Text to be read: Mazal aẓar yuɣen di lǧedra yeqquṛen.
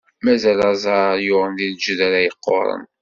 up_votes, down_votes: 2, 0